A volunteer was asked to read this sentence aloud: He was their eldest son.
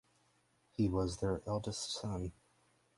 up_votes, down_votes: 0, 4